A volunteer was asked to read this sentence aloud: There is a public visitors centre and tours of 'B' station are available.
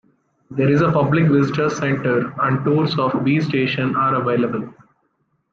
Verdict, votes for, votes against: accepted, 2, 0